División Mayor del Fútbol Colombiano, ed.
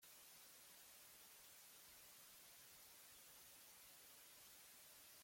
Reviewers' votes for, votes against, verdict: 0, 2, rejected